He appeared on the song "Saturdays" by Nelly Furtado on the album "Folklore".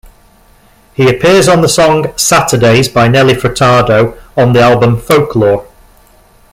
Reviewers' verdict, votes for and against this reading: rejected, 0, 2